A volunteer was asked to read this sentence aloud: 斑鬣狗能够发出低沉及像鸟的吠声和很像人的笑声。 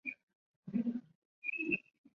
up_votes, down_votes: 0, 2